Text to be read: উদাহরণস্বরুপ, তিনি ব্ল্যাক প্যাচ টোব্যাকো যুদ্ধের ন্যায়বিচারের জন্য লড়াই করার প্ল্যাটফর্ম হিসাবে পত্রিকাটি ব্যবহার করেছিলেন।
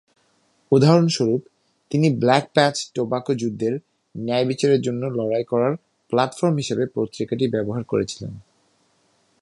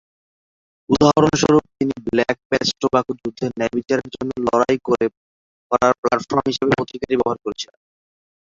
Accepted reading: first